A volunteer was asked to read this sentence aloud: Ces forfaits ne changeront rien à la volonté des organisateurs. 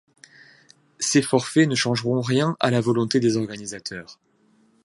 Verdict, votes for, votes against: accepted, 2, 0